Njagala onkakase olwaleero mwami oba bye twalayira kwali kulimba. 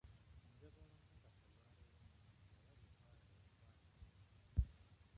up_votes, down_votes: 0, 2